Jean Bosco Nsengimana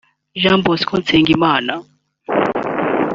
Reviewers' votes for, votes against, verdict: 3, 0, accepted